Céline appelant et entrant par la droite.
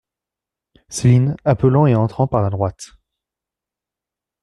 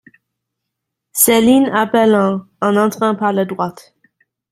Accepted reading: first